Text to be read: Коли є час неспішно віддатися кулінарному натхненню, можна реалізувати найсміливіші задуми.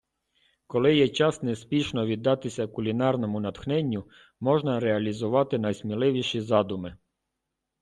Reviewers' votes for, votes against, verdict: 2, 0, accepted